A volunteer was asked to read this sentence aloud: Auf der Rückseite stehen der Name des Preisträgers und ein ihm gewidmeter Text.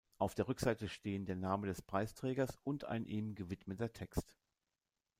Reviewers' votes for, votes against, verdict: 2, 0, accepted